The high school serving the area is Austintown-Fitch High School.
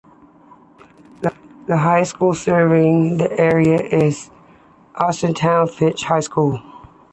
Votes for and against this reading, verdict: 2, 0, accepted